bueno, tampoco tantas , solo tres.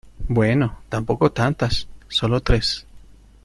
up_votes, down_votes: 2, 0